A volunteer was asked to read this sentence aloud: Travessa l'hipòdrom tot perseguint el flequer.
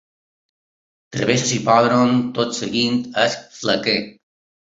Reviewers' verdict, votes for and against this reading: rejected, 0, 2